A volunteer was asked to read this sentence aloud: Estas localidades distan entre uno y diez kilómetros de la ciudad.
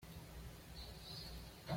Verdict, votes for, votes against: rejected, 1, 2